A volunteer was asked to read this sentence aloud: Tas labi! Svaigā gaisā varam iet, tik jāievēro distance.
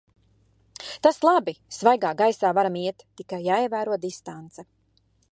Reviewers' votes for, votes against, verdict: 0, 2, rejected